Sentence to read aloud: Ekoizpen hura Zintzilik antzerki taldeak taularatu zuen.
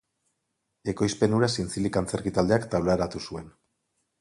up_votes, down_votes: 4, 0